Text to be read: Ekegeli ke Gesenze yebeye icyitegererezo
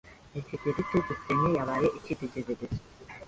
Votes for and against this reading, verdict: 0, 2, rejected